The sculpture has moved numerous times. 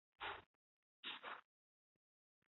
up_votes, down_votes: 0, 2